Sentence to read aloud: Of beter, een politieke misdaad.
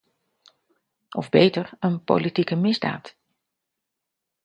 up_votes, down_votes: 2, 0